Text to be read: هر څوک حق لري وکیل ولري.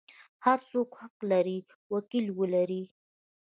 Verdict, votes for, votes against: accepted, 2, 0